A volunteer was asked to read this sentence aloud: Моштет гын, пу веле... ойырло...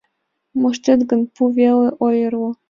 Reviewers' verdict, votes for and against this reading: accepted, 2, 0